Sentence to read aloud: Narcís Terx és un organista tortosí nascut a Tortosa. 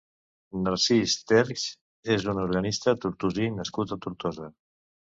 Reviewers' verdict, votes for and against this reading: accepted, 2, 0